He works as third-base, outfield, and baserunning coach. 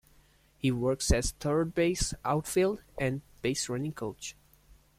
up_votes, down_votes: 2, 0